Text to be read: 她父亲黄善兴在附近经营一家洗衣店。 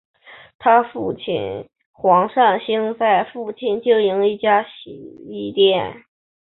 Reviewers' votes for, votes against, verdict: 6, 0, accepted